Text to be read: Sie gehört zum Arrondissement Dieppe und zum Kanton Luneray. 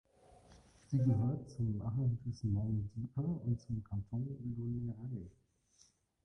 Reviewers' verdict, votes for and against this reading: rejected, 1, 2